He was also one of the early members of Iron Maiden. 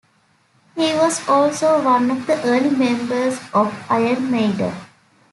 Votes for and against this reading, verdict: 2, 0, accepted